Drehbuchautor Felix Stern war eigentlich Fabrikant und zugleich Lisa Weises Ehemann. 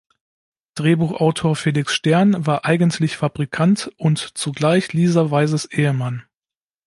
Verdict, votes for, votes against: accepted, 2, 0